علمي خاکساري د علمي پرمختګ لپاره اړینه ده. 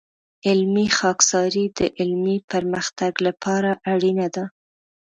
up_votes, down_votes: 2, 0